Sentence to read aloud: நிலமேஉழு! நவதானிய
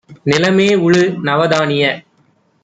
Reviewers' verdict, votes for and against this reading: accepted, 2, 0